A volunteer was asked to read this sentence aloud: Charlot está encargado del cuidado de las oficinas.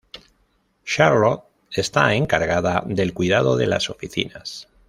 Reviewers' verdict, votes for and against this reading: rejected, 0, 2